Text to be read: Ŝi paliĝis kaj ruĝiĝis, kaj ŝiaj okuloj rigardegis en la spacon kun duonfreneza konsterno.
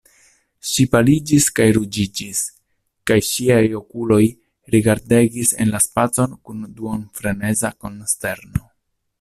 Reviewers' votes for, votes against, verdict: 0, 2, rejected